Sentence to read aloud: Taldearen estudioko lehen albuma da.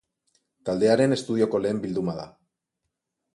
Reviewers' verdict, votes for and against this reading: rejected, 0, 4